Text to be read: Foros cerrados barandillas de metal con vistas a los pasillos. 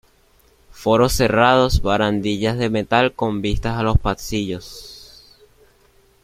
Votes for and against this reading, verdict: 2, 1, accepted